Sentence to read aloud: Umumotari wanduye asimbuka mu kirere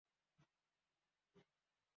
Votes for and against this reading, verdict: 0, 2, rejected